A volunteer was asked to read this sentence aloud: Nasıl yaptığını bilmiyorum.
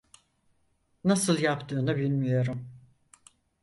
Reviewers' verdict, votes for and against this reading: accepted, 4, 0